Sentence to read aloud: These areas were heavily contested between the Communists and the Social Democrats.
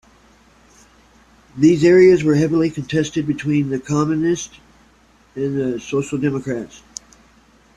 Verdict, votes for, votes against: accepted, 2, 0